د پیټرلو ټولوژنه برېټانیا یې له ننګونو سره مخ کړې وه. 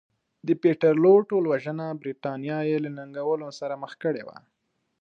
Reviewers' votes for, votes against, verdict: 2, 0, accepted